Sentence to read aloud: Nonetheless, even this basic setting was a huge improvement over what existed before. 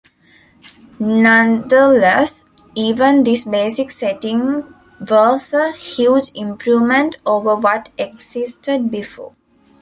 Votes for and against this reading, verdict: 0, 2, rejected